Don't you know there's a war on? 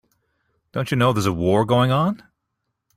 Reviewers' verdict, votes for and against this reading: rejected, 0, 2